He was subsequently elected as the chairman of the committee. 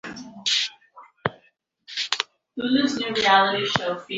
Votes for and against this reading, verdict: 0, 2, rejected